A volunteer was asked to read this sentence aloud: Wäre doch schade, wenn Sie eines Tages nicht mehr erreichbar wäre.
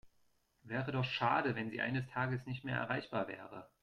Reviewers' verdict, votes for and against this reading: accepted, 2, 0